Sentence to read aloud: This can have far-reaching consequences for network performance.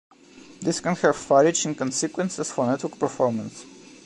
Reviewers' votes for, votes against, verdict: 2, 1, accepted